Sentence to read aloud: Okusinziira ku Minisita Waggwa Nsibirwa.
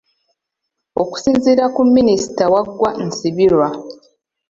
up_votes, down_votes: 2, 0